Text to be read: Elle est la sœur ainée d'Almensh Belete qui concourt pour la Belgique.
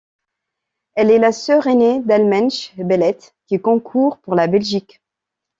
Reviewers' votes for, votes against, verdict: 2, 0, accepted